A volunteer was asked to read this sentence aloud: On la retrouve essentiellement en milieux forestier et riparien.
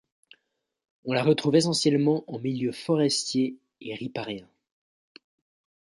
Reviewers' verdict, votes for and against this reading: accepted, 2, 0